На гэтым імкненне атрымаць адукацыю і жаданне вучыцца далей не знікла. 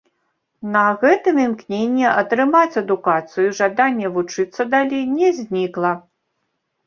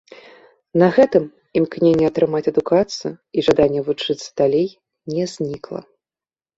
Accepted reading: second